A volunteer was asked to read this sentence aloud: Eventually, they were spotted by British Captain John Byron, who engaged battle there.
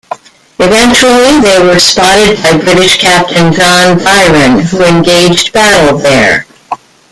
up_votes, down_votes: 1, 2